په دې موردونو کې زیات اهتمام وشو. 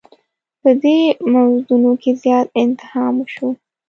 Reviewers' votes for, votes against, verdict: 1, 2, rejected